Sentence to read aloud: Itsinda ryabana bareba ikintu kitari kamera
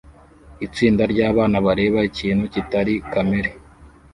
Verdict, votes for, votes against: rejected, 0, 2